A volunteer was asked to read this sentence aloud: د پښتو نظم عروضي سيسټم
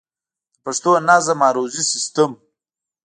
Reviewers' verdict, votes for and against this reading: accepted, 2, 0